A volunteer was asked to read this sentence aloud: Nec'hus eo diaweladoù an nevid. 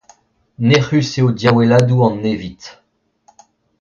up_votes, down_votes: 2, 0